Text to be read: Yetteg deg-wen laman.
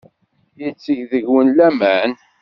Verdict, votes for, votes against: accepted, 2, 0